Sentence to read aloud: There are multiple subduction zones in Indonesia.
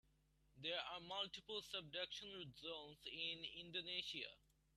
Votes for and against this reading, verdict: 2, 1, accepted